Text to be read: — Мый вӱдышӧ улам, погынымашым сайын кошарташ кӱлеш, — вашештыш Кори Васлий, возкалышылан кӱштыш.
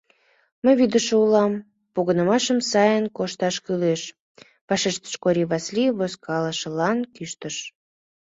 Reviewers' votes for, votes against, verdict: 1, 2, rejected